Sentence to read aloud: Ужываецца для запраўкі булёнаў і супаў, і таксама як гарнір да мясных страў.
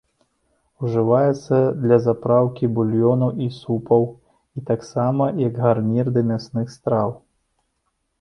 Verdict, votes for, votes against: rejected, 0, 2